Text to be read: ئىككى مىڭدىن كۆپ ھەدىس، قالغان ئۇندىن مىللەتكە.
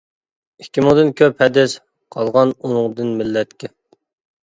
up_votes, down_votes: 0, 2